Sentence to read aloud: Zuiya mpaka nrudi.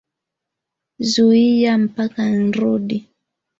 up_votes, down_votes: 2, 1